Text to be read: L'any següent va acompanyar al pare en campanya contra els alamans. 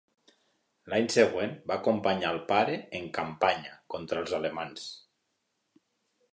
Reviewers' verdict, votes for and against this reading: rejected, 1, 2